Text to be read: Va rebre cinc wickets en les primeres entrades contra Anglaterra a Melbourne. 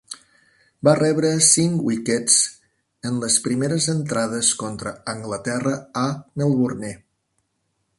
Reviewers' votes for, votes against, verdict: 2, 1, accepted